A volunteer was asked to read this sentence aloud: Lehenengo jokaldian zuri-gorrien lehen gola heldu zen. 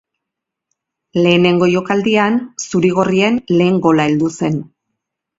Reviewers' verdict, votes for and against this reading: accepted, 2, 0